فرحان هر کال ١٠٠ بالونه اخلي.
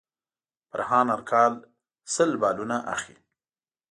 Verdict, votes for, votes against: rejected, 0, 2